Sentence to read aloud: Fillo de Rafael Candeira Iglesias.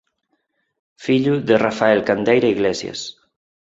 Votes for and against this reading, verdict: 4, 0, accepted